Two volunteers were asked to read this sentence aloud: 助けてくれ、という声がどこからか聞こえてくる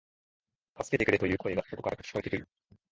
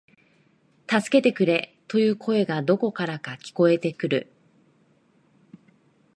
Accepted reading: second